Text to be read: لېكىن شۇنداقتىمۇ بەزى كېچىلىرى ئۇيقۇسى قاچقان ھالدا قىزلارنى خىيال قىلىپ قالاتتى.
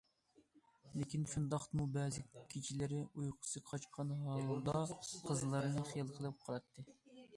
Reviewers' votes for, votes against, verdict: 2, 0, accepted